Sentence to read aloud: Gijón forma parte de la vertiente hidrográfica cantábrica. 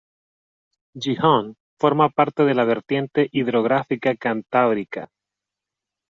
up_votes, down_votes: 0, 2